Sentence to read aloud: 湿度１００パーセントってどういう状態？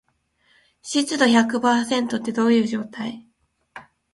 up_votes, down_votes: 0, 2